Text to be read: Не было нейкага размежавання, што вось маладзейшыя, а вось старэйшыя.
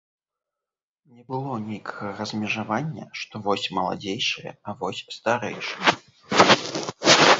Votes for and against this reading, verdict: 1, 2, rejected